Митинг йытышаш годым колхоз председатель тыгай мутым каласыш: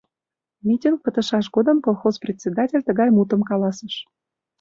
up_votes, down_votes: 0, 2